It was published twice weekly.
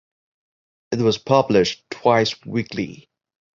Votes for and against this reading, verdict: 2, 0, accepted